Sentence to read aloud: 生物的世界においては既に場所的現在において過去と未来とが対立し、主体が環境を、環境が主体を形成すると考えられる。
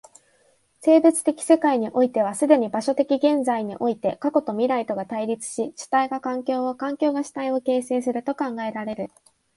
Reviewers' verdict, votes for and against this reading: accepted, 2, 0